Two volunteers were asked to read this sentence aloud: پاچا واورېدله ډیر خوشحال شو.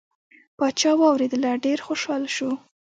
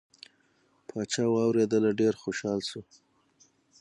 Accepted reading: second